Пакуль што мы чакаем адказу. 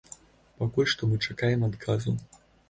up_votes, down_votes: 3, 0